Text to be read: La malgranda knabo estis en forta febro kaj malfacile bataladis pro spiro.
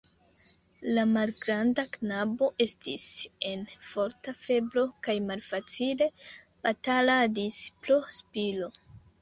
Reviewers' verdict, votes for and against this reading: rejected, 1, 2